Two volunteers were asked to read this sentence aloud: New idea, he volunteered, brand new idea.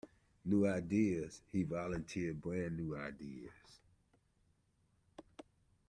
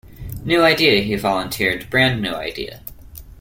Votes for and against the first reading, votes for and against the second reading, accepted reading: 1, 2, 2, 0, second